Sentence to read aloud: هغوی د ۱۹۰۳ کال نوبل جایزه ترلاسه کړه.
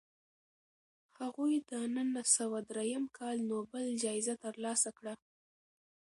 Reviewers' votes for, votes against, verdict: 0, 2, rejected